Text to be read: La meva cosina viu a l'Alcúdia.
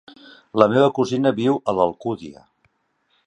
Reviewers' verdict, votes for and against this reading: accepted, 3, 0